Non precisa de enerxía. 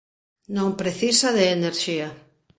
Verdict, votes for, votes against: accepted, 2, 0